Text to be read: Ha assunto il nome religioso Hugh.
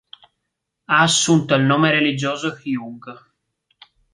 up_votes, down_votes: 3, 0